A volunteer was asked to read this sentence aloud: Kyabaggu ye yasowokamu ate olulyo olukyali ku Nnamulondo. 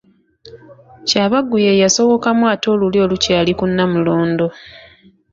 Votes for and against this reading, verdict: 2, 0, accepted